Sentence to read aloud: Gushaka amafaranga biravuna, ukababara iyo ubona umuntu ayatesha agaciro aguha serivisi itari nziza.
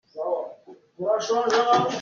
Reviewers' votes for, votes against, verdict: 0, 3, rejected